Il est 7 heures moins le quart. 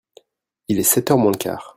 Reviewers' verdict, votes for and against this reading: rejected, 0, 2